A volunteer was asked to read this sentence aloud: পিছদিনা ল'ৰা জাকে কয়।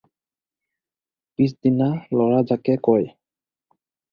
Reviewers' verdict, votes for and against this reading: accepted, 4, 0